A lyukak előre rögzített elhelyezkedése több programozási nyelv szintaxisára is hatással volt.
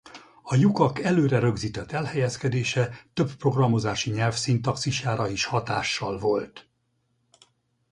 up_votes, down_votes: 2, 2